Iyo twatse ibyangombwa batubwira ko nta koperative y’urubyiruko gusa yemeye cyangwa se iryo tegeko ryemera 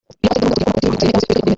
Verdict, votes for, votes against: rejected, 0, 4